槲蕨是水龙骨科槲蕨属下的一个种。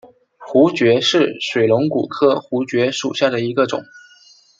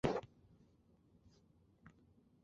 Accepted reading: first